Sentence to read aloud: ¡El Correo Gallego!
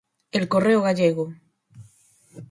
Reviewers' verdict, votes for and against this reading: accepted, 4, 0